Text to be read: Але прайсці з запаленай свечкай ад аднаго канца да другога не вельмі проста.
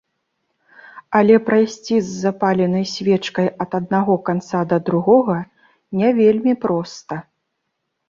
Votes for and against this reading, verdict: 2, 0, accepted